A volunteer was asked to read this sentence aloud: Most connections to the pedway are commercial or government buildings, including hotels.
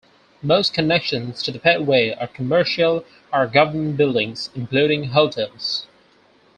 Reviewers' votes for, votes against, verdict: 4, 0, accepted